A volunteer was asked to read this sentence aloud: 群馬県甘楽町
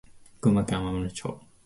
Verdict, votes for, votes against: accepted, 2, 0